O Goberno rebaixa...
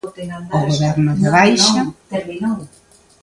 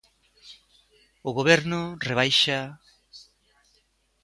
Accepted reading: second